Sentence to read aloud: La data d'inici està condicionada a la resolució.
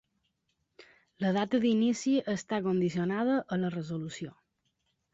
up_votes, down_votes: 2, 0